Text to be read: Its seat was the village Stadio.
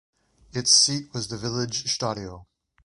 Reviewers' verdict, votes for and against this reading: accepted, 2, 1